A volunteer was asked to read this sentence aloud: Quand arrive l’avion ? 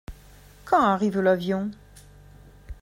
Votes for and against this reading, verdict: 2, 0, accepted